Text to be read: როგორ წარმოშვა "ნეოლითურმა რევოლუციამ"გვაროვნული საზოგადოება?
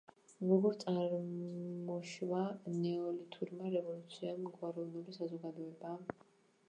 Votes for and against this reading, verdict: 0, 2, rejected